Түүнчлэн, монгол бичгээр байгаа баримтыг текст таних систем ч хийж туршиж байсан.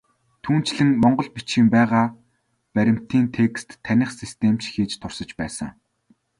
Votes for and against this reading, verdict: 1, 2, rejected